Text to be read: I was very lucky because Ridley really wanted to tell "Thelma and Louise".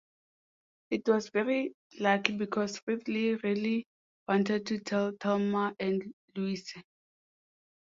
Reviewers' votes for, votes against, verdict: 1, 2, rejected